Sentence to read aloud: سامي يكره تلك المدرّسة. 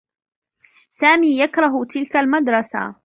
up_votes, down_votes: 1, 2